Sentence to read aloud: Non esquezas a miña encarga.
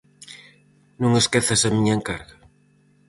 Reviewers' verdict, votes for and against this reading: accepted, 4, 0